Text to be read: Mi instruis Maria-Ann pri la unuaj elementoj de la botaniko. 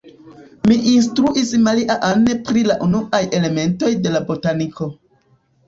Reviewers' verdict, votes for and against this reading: accepted, 2, 0